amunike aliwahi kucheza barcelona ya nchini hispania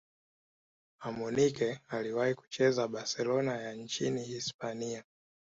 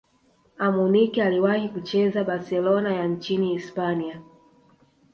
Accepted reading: first